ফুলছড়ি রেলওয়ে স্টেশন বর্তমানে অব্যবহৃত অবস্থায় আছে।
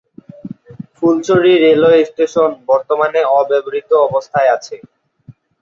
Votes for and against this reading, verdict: 2, 0, accepted